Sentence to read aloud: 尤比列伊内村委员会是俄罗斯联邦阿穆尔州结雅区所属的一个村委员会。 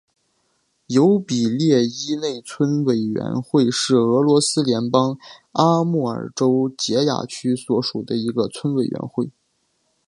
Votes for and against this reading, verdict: 5, 3, accepted